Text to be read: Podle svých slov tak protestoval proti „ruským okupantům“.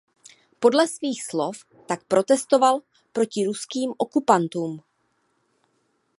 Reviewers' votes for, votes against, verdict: 2, 0, accepted